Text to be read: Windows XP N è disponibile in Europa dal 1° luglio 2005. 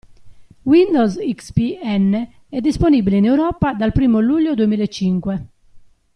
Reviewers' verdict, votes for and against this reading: rejected, 0, 2